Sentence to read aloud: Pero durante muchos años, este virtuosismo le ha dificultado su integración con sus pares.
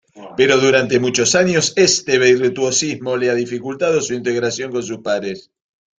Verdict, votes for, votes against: rejected, 1, 2